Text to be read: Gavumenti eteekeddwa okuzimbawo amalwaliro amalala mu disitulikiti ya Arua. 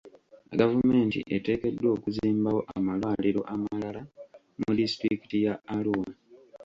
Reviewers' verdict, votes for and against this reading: rejected, 0, 2